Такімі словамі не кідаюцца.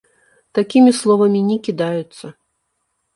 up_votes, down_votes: 2, 0